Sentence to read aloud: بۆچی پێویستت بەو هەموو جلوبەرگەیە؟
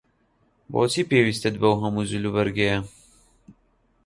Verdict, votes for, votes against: accepted, 2, 0